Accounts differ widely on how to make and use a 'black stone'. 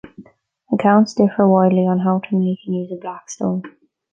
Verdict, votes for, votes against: accepted, 2, 0